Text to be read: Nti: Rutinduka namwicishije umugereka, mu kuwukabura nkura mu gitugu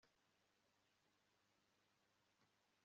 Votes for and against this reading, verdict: 0, 2, rejected